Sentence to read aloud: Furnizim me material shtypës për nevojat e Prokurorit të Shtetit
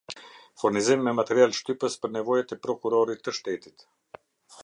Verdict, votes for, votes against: accepted, 2, 0